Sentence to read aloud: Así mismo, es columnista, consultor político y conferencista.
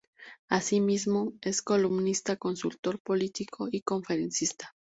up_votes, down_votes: 4, 0